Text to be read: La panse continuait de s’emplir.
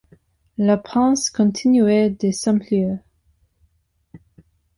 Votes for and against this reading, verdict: 2, 0, accepted